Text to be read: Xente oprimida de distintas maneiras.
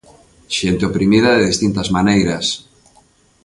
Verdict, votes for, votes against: accepted, 3, 0